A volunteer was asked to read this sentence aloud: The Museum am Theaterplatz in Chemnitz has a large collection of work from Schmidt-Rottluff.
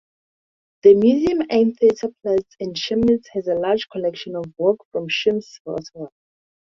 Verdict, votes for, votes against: accepted, 2, 0